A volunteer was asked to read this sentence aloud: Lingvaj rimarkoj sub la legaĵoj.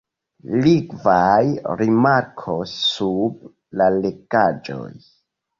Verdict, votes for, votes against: rejected, 0, 2